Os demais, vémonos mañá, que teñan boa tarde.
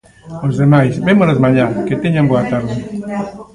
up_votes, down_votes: 1, 2